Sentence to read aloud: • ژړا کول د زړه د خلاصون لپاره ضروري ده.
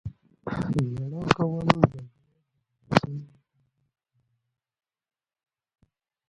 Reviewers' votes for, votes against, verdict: 1, 2, rejected